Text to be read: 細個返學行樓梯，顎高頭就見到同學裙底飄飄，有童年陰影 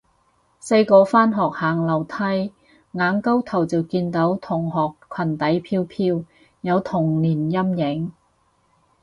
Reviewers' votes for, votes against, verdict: 0, 2, rejected